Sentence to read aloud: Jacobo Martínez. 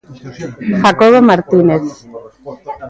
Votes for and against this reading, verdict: 0, 2, rejected